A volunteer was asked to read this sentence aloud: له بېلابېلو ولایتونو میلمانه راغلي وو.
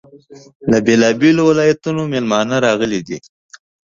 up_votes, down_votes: 1, 2